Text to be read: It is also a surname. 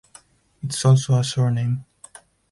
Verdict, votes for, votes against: rejected, 2, 4